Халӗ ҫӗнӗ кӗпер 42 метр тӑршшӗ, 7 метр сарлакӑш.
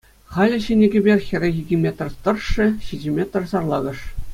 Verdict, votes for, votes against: rejected, 0, 2